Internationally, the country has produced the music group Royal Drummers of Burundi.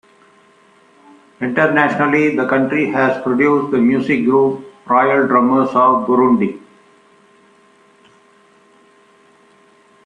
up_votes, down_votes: 2, 0